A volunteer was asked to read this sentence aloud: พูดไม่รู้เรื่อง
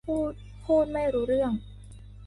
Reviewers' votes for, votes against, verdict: 0, 2, rejected